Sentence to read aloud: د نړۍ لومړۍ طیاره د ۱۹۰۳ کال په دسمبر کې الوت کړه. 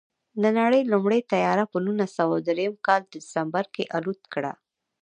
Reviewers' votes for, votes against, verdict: 0, 2, rejected